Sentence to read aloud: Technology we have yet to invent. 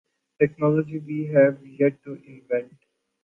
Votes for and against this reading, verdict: 2, 0, accepted